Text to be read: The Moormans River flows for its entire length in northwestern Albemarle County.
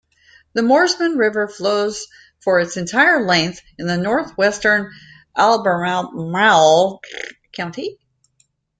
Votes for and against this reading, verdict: 0, 2, rejected